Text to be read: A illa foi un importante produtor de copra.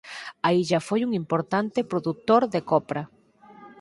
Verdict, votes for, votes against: accepted, 4, 0